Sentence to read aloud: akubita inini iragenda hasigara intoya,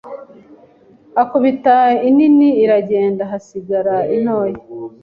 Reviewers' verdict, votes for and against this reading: accepted, 2, 0